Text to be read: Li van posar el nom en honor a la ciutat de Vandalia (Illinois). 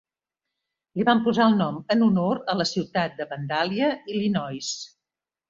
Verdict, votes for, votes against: accepted, 3, 0